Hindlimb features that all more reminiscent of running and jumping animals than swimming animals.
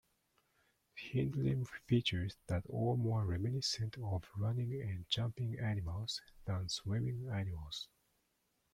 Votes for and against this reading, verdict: 0, 2, rejected